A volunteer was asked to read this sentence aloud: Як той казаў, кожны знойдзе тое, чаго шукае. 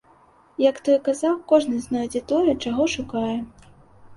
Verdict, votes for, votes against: accepted, 2, 0